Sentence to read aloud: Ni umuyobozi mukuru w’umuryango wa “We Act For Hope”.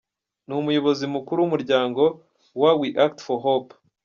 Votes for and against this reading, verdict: 2, 1, accepted